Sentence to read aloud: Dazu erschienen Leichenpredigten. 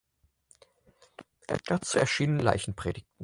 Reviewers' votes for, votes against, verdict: 0, 4, rejected